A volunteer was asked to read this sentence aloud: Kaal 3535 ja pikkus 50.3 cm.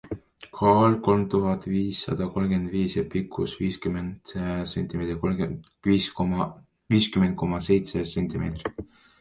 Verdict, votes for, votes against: rejected, 0, 2